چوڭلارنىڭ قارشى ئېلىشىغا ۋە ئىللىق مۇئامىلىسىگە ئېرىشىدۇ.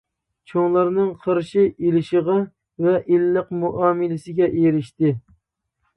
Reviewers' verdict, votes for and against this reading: rejected, 0, 2